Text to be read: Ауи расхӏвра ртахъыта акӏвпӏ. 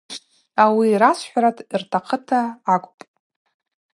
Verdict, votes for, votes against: accepted, 2, 0